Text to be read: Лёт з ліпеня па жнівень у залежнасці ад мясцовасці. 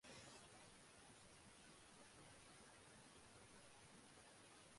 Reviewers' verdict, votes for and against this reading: rejected, 0, 2